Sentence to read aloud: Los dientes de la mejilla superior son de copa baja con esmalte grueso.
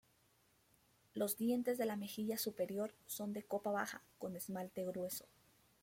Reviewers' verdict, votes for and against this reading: accepted, 2, 0